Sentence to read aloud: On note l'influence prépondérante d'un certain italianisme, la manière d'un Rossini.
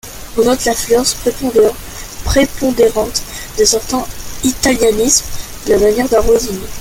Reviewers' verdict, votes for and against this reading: rejected, 0, 2